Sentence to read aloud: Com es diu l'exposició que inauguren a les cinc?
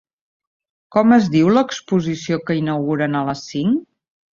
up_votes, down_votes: 4, 0